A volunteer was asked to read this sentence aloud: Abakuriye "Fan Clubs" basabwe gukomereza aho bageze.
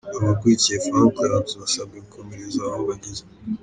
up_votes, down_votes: 0, 2